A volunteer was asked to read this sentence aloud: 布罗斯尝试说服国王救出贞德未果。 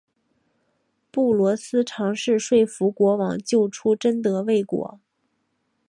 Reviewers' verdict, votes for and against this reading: accepted, 3, 0